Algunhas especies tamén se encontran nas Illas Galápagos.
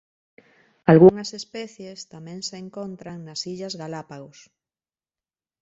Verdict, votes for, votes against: accepted, 2, 0